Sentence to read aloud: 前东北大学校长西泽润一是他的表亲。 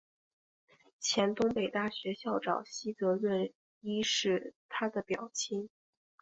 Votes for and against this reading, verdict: 4, 0, accepted